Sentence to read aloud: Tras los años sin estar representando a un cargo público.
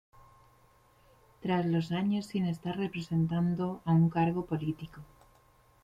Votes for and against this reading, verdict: 1, 2, rejected